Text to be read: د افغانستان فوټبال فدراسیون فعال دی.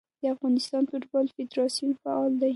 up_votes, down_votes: 2, 0